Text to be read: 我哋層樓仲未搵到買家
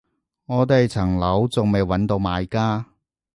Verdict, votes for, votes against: accepted, 2, 0